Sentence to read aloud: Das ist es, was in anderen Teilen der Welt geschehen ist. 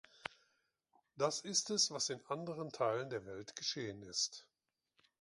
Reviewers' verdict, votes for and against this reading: accepted, 2, 0